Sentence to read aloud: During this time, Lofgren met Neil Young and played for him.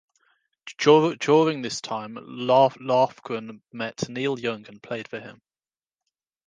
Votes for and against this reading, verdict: 0, 2, rejected